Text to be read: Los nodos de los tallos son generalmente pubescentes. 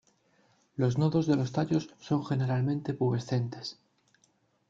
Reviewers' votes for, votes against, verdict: 2, 0, accepted